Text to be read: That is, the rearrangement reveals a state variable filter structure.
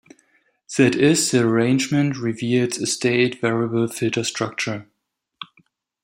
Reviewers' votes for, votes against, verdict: 0, 2, rejected